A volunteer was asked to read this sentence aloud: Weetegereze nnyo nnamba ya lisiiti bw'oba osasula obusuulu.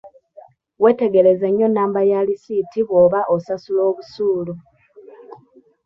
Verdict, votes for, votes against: rejected, 1, 2